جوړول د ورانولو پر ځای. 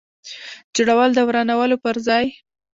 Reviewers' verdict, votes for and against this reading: accepted, 2, 0